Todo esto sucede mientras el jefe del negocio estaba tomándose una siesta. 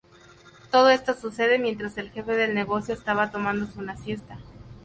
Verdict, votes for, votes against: accepted, 4, 0